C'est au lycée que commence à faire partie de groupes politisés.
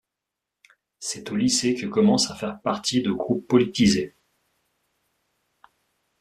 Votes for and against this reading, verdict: 2, 0, accepted